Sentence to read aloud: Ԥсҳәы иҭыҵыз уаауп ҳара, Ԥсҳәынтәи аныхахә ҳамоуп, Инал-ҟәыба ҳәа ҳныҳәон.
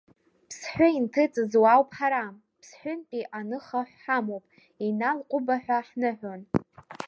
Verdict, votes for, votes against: accepted, 2, 0